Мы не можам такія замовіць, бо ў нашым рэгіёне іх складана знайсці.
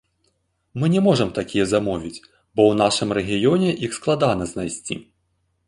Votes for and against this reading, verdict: 2, 0, accepted